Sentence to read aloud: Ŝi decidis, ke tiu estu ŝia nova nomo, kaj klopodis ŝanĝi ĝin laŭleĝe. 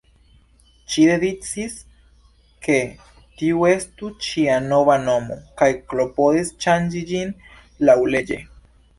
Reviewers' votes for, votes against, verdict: 2, 1, accepted